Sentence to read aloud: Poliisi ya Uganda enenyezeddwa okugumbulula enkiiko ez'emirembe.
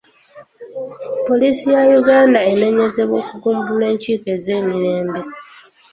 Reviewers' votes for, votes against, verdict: 2, 0, accepted